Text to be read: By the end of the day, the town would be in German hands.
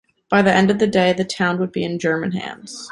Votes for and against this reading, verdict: 2, 0, accepted